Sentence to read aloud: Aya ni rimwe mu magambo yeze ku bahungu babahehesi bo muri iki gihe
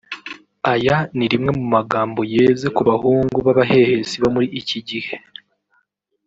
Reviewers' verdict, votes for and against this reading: rejected, 0, 2